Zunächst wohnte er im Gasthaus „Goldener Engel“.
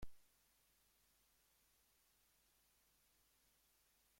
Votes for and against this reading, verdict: 0, 3, rejected